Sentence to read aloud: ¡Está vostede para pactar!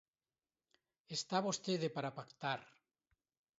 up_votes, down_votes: 2, 0